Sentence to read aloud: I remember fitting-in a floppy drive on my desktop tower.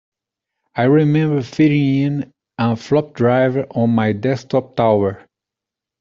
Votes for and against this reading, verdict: 1, 2, rejected